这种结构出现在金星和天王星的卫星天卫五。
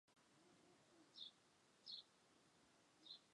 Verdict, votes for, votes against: rejected, 0, 3